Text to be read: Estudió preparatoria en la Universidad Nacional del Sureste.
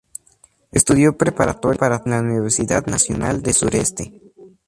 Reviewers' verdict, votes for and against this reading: rejected, 0, 2